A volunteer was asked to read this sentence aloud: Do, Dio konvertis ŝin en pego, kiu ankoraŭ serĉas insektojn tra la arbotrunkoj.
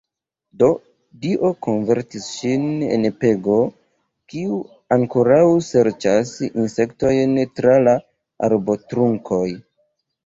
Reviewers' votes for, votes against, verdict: 1, 2, rejected